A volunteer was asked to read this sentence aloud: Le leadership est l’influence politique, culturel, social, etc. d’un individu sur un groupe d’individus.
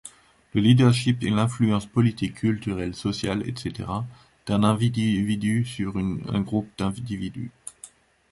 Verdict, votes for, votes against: rejected, 0, 2